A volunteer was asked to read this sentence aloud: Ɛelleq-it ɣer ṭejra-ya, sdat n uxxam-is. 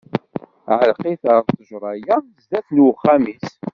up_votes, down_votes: 1, 2